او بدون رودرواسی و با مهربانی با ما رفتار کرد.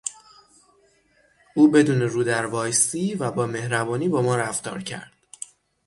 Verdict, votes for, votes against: rejected, 3, 6